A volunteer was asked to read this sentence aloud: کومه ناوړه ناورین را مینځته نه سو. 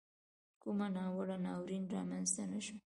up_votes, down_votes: 1, 2